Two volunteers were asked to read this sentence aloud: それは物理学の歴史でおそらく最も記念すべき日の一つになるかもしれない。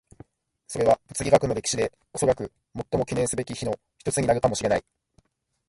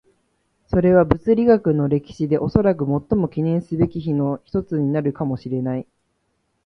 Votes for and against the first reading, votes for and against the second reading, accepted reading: 2, 1, 0, 2, first